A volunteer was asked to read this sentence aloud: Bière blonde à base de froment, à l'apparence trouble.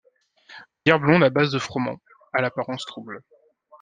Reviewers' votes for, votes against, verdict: 2, 0, accepted